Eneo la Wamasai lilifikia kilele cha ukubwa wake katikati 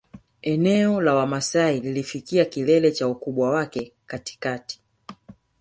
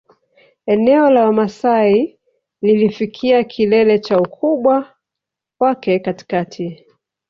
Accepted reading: second